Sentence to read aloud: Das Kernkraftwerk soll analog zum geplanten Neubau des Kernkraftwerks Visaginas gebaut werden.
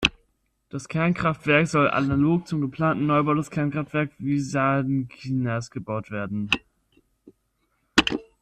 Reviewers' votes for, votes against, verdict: 0, 2, rejected